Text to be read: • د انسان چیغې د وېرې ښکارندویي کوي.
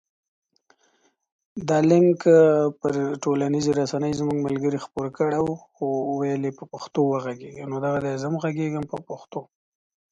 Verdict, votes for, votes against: rejected, 0, 2